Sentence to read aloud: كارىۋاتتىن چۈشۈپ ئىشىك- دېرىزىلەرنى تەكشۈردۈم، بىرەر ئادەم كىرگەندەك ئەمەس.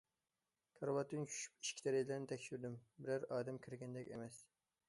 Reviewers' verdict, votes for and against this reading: rejected, 0, 2